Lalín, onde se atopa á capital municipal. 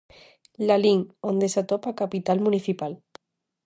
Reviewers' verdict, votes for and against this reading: accepted, 2, 0